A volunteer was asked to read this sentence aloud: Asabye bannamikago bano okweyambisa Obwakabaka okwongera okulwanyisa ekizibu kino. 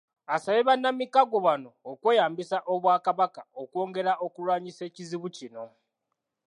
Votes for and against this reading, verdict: 2, 0, accepted